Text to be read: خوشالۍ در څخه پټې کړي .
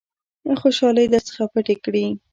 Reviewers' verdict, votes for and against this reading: rejected, 1, 2